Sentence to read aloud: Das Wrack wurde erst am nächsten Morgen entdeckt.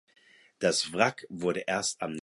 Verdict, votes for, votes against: rejected, 0, 4